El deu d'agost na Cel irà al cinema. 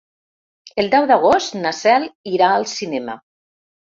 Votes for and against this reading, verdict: 3, 0, accepted